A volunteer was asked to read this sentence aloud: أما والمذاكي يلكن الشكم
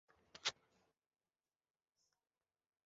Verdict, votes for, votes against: rejected, 0, 2